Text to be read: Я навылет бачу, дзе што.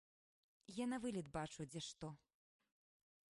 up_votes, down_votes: 2, 0